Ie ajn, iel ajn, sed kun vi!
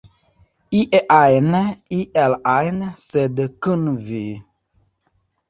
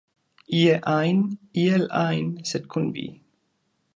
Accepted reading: second